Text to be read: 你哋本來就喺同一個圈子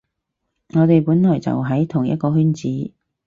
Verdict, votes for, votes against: rejected, 0, 4